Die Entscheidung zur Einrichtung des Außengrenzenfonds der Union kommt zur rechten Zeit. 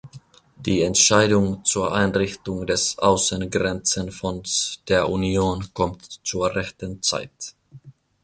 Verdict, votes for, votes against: accepted, 2, 0